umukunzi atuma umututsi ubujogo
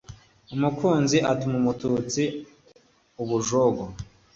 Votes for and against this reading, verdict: 2, 0, accepted